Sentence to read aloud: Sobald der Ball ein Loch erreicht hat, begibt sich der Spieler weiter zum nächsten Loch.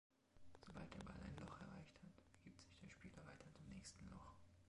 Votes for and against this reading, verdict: 0, 2, rejected